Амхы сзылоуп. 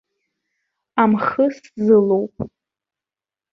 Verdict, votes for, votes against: accepted, 2, 0